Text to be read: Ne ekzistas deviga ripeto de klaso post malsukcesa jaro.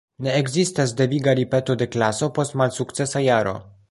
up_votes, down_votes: 1, 2